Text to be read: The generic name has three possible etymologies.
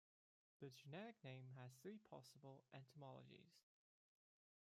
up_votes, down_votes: 2, 0